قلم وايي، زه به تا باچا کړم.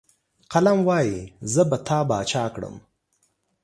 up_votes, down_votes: 2, 0